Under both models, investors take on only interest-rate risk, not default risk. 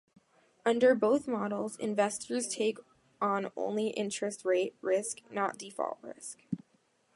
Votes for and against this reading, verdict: 2, 0, accepted